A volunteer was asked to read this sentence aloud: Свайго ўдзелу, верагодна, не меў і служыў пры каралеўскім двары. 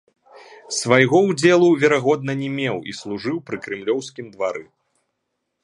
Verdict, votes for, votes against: rejected, 0, 2